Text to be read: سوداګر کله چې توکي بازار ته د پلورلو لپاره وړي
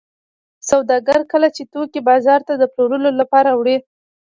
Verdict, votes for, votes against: accepted, 2, 0